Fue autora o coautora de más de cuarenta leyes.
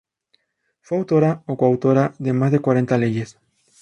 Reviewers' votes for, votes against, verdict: 4, 0, accepted